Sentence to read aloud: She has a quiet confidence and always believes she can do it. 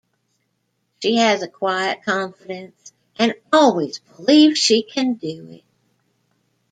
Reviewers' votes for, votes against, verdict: 2, 0, accepted